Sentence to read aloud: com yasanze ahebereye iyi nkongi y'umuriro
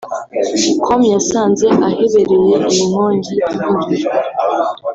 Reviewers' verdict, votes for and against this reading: rejected, 0, 2